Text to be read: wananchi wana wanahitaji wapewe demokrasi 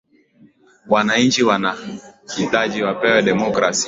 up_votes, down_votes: 11, 1